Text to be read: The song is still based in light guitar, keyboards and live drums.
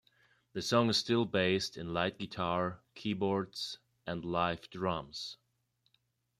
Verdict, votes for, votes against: accepted, 2, 0